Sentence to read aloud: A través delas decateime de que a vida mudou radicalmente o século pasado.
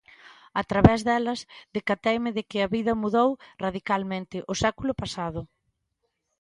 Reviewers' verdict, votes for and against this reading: accepted, 2, 0